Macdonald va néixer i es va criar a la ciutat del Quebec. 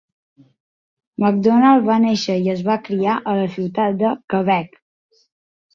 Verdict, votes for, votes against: rejected, 0, 2